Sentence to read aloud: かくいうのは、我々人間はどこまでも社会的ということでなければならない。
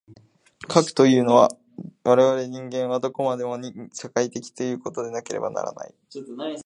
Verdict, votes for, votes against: rejected, 1, 2